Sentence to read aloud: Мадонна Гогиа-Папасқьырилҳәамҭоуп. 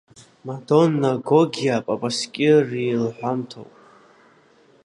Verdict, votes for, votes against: rejected, 0, 2